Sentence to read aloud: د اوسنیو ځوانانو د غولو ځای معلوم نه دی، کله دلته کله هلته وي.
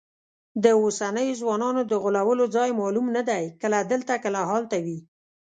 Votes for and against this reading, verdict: 1, 2, rejected